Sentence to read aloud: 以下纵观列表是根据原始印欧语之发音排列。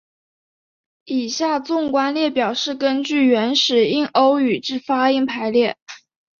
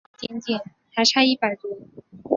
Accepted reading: first